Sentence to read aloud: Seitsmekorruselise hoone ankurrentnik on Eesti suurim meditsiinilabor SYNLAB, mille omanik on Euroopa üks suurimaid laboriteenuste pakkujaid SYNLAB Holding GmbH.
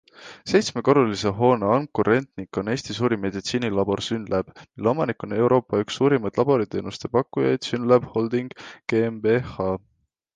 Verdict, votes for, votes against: accepted, 2, 0